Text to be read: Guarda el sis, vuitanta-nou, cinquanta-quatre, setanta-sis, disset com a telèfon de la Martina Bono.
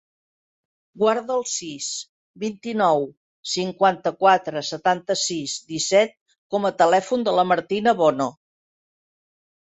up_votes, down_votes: 1, 2